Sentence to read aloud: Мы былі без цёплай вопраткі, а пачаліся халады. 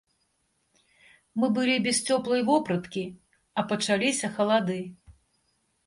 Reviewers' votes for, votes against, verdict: 2, 0, accepted